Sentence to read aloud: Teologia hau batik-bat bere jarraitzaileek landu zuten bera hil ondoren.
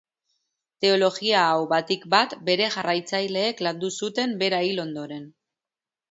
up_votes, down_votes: 3, 0